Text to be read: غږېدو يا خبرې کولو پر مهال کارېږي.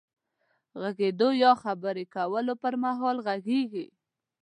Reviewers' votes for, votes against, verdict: 0, 2, rejected